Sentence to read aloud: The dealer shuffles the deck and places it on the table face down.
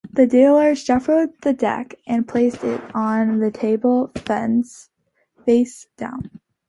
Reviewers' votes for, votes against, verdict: 0, 3, rejected